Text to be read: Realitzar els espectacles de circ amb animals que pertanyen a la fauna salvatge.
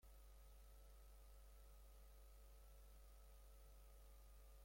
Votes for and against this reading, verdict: 0, 2, rejected